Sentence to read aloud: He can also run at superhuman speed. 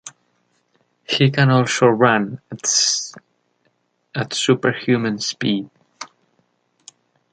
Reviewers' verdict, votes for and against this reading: accepted, 2, 0